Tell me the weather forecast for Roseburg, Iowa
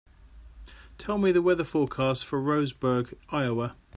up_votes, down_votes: 2, 0